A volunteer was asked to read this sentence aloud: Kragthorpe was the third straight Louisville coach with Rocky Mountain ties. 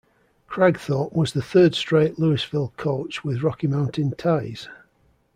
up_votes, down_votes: 2, 0